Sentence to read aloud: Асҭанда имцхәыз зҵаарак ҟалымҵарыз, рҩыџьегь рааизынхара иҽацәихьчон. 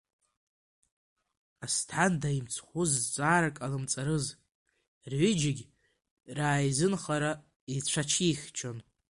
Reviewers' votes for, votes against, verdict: 1, 2, rejected